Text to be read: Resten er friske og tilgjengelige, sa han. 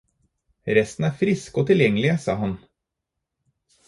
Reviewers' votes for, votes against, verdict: 4, 0, accepted